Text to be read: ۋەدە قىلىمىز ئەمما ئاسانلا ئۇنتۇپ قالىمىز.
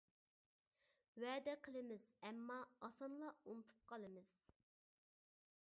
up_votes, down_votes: 3, 0